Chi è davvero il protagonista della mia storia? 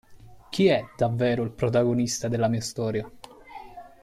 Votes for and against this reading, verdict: 2, 0, accepted